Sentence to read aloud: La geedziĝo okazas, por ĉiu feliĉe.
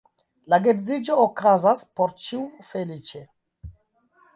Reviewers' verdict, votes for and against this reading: accepted, 2, 1